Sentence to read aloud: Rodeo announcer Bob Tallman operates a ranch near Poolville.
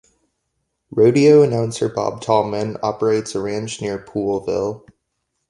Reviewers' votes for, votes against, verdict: 2, 0, accepted